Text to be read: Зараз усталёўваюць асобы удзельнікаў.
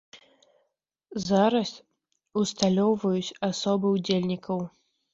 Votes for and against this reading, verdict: 2, 0, accepted